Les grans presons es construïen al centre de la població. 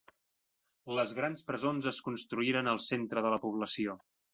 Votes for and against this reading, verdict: 3, 0, accepted